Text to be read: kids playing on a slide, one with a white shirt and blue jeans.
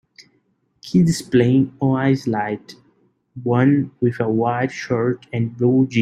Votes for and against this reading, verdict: 0, 3, rejected